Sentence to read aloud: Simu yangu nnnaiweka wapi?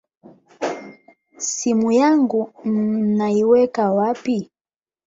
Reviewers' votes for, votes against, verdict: 8, 4, accepted